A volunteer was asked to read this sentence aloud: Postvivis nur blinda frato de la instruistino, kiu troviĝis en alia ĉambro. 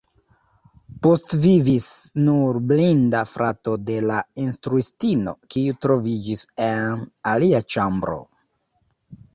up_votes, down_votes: 1, 2